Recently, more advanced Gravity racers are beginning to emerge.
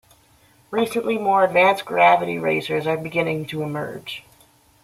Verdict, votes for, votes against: accepted, 2, 0